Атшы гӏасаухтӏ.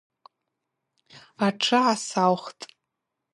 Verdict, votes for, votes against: accepted, 4, 0